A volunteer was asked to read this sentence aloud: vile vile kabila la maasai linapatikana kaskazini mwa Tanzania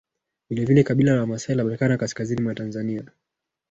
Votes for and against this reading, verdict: 1, 2, rejected